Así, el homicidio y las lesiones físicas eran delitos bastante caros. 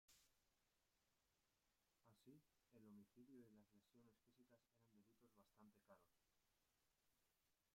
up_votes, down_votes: 1, 2